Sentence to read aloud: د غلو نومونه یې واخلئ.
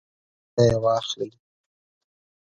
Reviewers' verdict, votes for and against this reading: rejected, 0, 2